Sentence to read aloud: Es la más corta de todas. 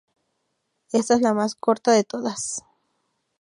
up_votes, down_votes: 0, 2